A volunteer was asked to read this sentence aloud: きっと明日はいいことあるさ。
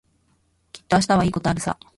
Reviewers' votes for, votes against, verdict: 2, 0, accepted